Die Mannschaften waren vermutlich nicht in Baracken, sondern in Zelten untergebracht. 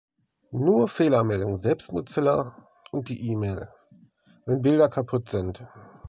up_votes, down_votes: 0, 2